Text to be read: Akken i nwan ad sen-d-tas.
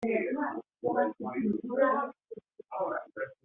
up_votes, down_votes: 1, 2